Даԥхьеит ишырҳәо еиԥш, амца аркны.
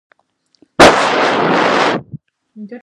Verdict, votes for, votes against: rejected, 0, 2